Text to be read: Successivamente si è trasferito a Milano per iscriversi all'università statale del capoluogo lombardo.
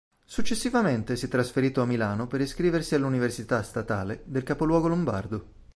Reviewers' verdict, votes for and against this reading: accepted, 2, 0